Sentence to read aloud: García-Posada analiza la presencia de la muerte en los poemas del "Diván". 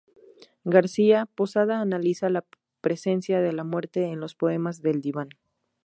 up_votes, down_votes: 0, 2